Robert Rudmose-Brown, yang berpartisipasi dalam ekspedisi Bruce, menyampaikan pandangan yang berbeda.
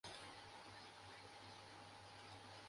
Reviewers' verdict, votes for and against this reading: rejected, 0, 2